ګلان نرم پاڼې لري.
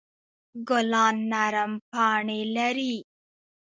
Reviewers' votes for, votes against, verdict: 1, 2, rejected